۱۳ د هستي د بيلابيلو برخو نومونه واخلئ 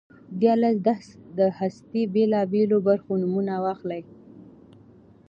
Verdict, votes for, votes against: rejected, 0, 2